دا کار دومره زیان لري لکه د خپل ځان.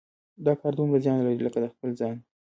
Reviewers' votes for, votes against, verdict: 1, 2, rejected